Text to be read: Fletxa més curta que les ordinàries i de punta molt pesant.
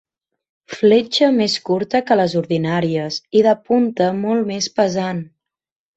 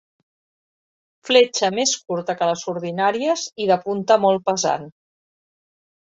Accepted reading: second